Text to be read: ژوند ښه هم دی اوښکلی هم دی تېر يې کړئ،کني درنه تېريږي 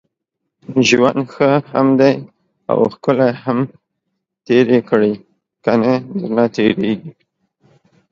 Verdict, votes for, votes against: rejected, 1, 2